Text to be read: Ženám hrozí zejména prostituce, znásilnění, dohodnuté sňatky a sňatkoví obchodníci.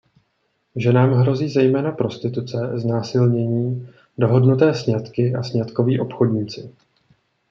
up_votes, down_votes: 2, 0